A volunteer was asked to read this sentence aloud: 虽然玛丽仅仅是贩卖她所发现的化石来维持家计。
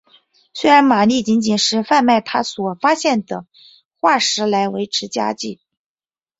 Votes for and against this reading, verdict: 6, 0, accepted